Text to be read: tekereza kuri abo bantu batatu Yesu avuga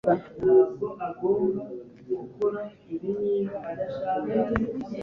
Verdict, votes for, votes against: rejected, 1, 2